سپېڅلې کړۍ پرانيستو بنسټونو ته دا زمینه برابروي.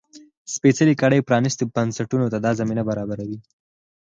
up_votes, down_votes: 0, 4